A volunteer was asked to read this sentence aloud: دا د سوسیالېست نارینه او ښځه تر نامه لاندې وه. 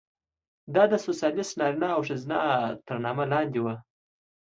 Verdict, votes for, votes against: accepted, 2, 0